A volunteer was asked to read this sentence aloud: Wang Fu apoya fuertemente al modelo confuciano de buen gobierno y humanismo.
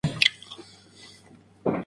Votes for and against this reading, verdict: 0, 4, rejected